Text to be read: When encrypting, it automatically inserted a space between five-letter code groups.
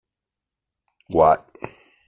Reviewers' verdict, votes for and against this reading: rejected, 0, 2